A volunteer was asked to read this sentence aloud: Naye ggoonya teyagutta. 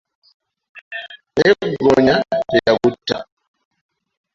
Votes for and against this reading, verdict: 2, 0, accepted